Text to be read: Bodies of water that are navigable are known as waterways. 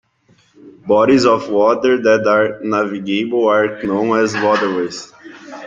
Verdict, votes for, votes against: rejected, 0, 2